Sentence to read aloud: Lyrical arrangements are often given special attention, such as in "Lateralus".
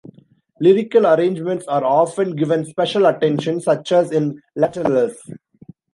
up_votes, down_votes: 2, 0